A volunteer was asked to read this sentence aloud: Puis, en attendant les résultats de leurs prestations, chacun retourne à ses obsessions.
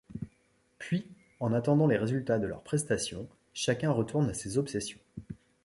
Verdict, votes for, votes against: accepted, 2, 0